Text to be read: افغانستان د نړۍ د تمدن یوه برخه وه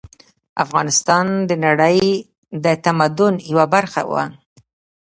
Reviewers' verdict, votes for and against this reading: rejected, 1, 2